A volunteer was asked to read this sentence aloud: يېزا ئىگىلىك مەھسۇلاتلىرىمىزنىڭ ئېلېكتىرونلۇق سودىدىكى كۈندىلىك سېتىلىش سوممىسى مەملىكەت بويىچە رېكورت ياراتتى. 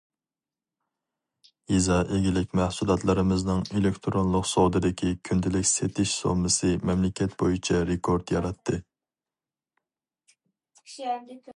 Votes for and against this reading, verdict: 0, 4, rejected